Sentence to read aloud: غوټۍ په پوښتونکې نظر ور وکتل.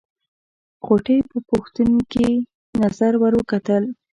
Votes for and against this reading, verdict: 0, 2, rejected